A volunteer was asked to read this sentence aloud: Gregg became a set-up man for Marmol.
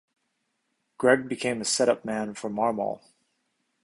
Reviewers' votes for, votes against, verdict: 2, 1, accepted